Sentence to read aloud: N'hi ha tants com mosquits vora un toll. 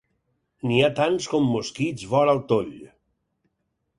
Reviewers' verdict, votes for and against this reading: rejected, 2, 4